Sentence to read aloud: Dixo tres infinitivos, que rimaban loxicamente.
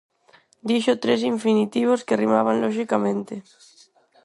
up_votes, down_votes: 2, 2